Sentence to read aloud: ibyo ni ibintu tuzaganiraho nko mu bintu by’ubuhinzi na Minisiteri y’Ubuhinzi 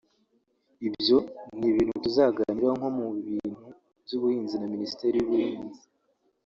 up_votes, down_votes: 1, 2